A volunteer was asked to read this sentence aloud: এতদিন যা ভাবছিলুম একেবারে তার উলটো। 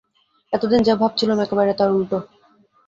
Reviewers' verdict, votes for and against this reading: accepted, 2, 0